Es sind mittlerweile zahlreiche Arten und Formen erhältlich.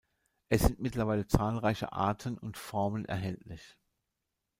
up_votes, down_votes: 1, 2